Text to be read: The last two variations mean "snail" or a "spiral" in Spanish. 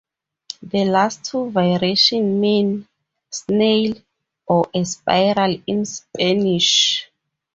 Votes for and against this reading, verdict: 2, 0, accepted